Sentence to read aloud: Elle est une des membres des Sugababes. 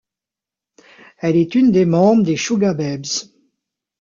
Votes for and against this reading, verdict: 0, 2, rejected